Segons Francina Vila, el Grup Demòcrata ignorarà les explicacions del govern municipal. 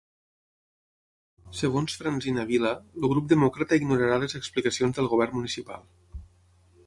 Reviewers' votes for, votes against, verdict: 3, 6, rejected